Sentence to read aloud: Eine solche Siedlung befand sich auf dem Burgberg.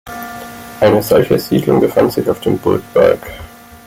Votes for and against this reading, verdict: 1, 2, rejected